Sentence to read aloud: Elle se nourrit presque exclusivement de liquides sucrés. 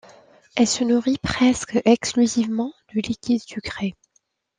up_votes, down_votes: 2, 1